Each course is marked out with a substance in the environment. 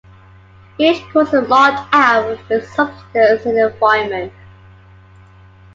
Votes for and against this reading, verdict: 2, 1, accepted